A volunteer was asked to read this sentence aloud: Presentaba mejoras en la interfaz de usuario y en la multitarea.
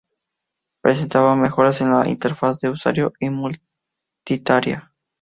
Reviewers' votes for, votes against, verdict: 0, 2, rejected